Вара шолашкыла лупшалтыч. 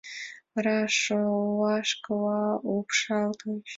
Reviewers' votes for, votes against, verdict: 2, 0, accepted